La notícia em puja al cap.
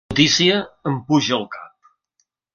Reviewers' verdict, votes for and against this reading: rejected, 0, 2